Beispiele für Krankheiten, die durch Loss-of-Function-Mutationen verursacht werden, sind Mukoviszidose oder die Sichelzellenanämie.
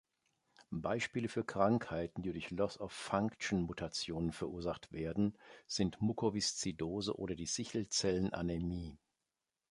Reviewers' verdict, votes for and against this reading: accepted, 2, 0